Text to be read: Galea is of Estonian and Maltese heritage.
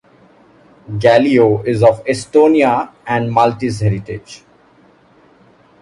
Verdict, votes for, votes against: accepted, 3, 0